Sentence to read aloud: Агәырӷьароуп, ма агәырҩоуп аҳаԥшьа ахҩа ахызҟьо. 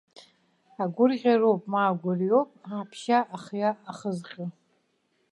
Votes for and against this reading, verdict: 1, 2, rejected